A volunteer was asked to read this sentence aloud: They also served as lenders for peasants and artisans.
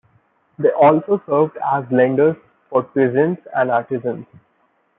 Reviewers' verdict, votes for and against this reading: accepted, 2, 0